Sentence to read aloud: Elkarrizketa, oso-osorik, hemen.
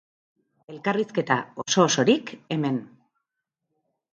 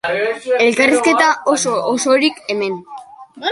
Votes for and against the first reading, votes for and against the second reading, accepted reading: 4, 0, 1, 2, first